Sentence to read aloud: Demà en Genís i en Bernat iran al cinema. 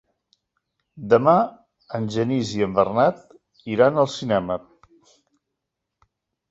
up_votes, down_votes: 4, 0